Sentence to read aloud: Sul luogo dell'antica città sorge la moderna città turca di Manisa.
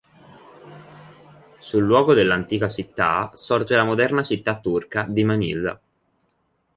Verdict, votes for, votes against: rejected, 1, 2